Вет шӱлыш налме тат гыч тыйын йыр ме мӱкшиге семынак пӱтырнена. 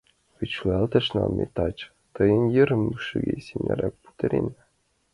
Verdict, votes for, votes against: rejected, 0, 2